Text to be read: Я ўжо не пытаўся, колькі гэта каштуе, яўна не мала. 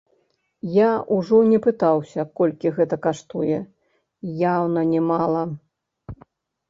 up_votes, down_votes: 0, 2